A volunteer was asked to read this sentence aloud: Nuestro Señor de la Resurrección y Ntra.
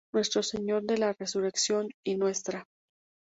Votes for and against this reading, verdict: 2, 0, accepted